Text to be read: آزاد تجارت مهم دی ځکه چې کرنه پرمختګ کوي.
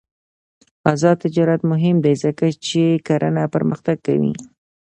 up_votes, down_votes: 2, 0